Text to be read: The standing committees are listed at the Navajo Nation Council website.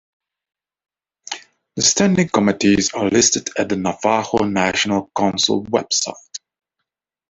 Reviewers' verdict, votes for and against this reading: accepted, 2, 0